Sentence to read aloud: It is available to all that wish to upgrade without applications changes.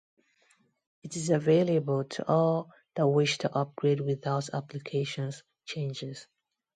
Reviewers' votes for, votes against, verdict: 2, 0, accepted